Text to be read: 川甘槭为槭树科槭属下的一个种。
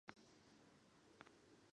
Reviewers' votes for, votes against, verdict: 0, 3, rejected